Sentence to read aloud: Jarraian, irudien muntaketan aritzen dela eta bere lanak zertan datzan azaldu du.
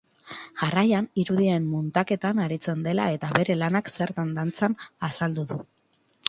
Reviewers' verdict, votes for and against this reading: rejected, 0, 2